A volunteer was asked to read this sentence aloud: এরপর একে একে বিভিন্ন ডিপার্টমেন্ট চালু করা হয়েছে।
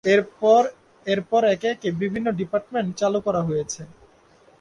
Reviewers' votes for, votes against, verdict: 0, 3, rejected